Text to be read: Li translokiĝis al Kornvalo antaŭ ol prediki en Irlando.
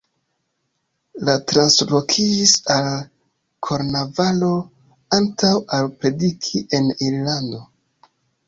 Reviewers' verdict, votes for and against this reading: rejected, 1, 2